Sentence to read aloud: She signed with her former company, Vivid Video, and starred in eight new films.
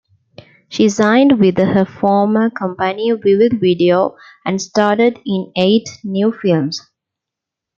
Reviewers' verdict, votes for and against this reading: rejected, 0, 2